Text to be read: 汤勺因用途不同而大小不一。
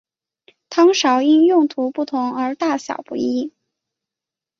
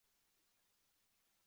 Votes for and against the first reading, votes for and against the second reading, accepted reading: 2, 0, 0, 3, first